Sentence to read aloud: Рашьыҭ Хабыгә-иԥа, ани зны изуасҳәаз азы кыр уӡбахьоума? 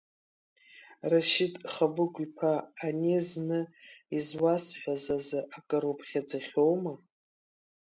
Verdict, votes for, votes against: rejected, 0, 3